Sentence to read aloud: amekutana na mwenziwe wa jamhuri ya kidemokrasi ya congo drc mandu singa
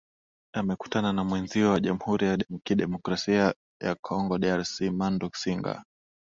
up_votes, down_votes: 5, 6